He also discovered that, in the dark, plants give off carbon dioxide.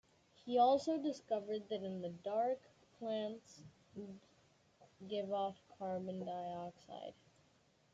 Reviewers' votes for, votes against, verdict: 2, 0, accepted